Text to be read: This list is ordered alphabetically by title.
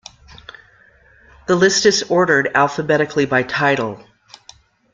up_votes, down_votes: 0, 2